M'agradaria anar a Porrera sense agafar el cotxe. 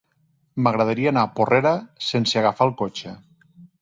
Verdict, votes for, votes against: accepted, 3, 0